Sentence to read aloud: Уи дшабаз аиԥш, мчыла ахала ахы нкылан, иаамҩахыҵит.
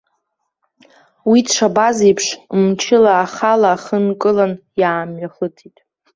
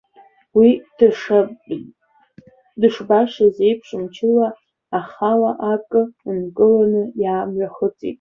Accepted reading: first